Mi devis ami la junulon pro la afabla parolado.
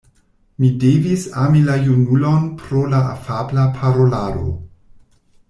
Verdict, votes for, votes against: rejected, 1, 2